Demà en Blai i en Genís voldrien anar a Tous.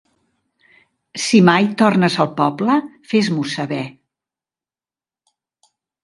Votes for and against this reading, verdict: 0, 2, rejected